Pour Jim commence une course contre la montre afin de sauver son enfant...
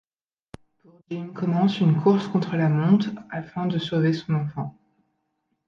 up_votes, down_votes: 0, 2